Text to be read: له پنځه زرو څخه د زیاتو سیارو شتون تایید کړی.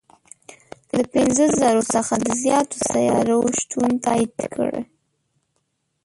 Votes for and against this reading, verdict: 0, 2, rejected